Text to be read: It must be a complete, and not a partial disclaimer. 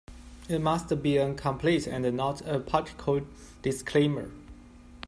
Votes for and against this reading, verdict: 0, 2, rejected